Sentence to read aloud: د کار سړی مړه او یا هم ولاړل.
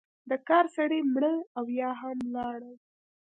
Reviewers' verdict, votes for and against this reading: accepted, 2, 0